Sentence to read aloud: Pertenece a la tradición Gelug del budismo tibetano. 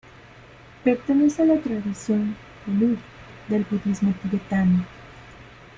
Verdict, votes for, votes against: accepted, 2, 1